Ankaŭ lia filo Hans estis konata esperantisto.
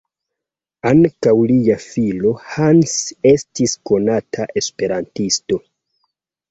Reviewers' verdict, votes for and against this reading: accepted, 2, 0